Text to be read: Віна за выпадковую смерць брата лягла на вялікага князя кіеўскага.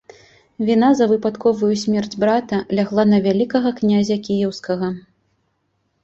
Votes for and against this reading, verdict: 2, 0, accepted